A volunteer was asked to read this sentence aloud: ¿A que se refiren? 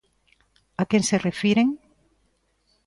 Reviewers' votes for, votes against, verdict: 2, 1, accepted